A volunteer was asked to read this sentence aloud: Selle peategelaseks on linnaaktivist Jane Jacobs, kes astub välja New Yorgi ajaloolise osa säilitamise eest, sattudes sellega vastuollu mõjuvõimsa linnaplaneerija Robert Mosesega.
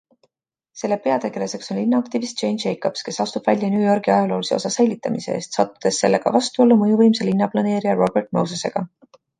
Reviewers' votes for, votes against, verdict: 2, 0, accepted